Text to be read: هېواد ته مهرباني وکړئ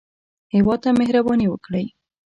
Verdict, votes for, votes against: accepted, 2, 0